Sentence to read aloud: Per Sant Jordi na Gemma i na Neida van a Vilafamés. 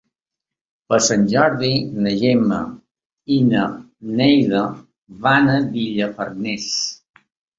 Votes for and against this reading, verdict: 0, 2, rejected